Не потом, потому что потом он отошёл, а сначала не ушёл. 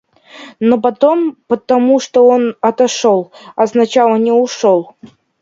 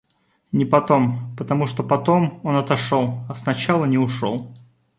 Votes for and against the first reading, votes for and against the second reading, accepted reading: 0, 2, 2, 0, second